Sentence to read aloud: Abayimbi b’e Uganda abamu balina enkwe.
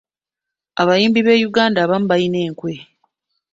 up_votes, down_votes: 1, 2